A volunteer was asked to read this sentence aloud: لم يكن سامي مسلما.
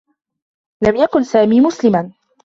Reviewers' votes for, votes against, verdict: 2, 0, accepted